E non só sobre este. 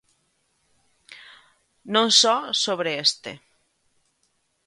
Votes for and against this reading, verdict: 1, 2, rejected